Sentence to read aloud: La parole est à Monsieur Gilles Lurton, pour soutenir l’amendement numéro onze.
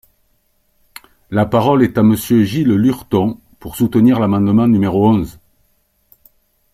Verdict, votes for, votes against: accepted, 2, 0